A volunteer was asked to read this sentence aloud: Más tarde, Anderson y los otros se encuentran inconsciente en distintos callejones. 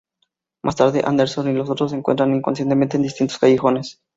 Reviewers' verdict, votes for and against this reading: rejected, 0, 2